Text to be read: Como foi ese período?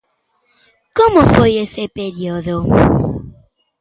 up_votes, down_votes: 1, 2